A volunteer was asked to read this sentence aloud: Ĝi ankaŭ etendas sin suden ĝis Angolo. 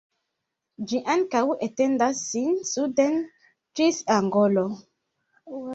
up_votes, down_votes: 1, 2